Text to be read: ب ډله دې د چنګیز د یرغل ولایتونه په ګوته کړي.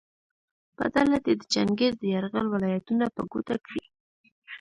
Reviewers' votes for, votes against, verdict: 1, 2, rejected